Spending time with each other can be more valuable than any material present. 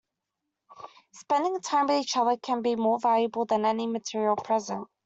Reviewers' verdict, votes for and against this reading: accepted, 2, 0